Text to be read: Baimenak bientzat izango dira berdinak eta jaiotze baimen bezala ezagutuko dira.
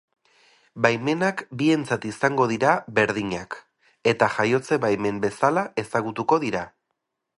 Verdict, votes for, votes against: accepted, 2, 0